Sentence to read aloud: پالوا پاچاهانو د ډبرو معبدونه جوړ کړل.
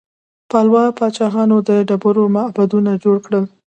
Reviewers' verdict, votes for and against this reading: accepted, 2, 0